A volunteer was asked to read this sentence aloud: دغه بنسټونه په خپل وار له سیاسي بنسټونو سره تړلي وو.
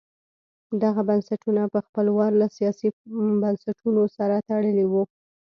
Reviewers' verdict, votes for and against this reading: rejected, 1, 2